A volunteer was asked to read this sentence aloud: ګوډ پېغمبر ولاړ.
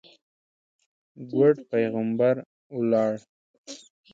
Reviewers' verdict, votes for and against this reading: accepted, 2, 0